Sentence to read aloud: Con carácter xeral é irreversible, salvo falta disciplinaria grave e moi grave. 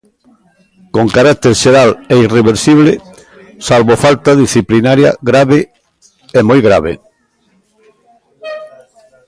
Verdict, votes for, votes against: accepted, 2, 1